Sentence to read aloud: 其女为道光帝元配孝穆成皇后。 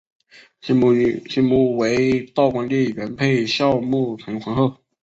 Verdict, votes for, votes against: rejected, 0, 5